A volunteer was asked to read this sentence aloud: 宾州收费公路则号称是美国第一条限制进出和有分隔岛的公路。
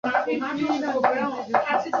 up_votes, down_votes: 0, 3